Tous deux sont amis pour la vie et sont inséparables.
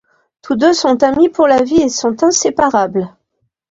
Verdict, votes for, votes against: accepted, 2, 0